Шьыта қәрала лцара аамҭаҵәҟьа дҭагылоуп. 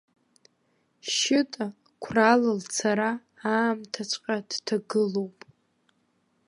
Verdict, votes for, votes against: rejected, 1, 2